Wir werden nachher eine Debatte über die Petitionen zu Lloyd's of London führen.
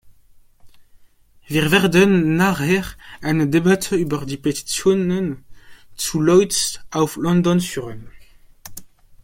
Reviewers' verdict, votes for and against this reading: accepted, 2, 0